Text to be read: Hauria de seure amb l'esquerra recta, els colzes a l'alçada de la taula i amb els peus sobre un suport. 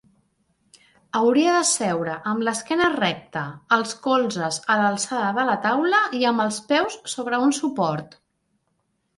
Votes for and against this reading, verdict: 3, 0, accepted